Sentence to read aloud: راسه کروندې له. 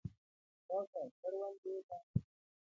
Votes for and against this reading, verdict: 2, 1, accepted